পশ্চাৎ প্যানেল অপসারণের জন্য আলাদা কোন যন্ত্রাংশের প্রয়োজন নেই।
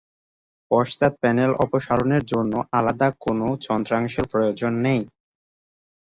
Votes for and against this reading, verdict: 2, 0, accepted